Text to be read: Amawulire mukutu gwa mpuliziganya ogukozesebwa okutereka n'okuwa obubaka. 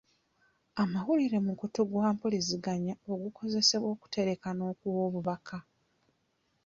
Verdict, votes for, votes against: accepted, 2, 0